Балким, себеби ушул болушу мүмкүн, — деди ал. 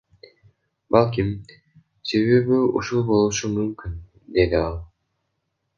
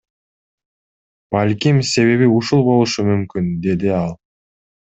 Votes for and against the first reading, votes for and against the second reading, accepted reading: 1, 2, 2, 0, second